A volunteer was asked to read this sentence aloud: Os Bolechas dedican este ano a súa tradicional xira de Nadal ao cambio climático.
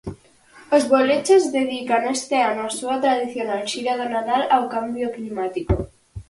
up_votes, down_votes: 4, 2